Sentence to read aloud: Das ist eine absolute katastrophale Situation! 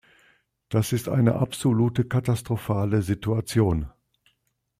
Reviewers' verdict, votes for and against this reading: accepted, 2, 0